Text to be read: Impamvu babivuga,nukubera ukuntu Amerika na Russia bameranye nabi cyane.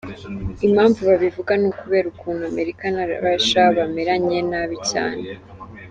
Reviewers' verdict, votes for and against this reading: accepted, 2, 0